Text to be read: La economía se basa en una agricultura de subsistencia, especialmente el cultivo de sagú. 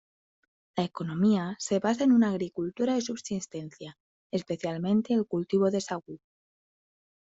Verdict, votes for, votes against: rejected, 0, 2